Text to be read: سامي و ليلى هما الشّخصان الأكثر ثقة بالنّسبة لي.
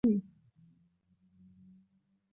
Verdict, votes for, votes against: rejected, 0, 2